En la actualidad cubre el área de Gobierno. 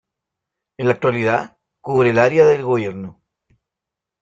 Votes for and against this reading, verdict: 1, 2, rejected